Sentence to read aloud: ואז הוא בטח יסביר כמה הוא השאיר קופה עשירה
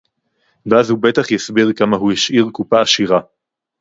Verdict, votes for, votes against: accepted, 2, 0